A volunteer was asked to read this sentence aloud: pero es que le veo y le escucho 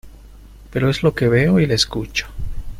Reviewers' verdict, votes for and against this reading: accepted, 2, 1